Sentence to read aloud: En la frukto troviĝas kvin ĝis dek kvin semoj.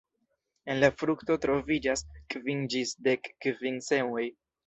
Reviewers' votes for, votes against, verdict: 2, 0, accepted